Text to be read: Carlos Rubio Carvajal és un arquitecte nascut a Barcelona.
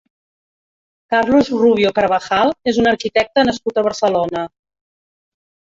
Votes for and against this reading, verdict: 1, 2, rejected